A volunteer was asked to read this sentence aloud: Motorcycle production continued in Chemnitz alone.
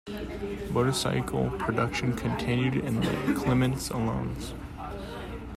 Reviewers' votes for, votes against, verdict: 0, 2, rejected